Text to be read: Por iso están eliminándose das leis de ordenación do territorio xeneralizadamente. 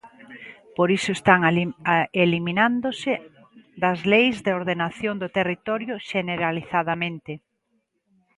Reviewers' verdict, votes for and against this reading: rejected, 0, 2